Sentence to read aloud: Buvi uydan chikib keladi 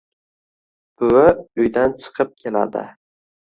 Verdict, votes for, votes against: accepted, 2, 0